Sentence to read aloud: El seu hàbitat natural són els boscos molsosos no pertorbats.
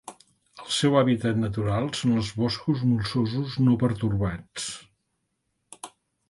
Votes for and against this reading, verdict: 2, 0, accepted